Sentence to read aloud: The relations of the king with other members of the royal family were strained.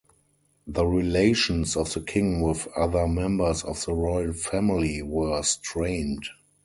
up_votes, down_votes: 4, 0